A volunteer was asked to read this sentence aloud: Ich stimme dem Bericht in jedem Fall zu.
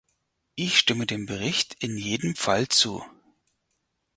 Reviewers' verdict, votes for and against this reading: accepted, 6, 0